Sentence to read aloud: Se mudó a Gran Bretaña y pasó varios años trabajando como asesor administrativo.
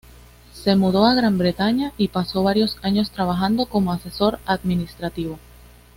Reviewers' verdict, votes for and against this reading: accepted, 2, 0